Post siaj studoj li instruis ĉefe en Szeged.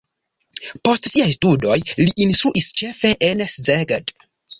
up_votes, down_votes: 2, 0